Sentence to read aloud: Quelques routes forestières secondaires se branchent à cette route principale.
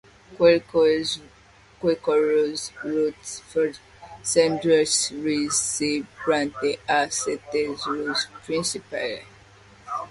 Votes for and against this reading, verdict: 0, 2, rejected